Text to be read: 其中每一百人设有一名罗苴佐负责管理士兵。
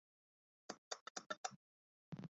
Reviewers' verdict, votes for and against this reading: rejected, 0, 2